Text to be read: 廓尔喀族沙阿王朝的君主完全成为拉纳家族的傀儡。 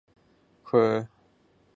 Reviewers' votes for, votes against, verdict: 0, 2, rejected